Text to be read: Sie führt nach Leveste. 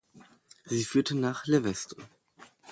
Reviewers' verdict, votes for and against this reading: rejected, 1, 2